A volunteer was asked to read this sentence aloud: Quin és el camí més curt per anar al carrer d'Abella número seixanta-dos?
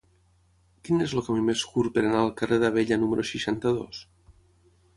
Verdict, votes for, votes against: rejected, 3, 3